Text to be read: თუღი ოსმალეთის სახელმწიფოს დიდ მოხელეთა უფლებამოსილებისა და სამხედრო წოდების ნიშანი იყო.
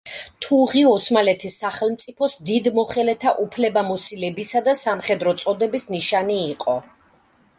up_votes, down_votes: 2, 0